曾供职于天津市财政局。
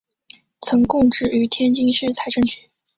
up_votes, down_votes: 2, 0